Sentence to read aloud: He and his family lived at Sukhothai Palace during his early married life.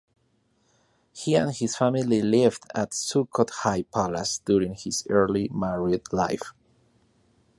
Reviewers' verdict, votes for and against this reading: rejected, 0, 2